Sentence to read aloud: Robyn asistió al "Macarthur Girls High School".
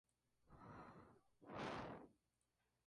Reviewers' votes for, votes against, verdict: 0, 2, rejected